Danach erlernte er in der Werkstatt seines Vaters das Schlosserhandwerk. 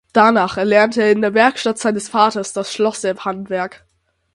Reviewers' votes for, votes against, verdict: 6, 0, accepted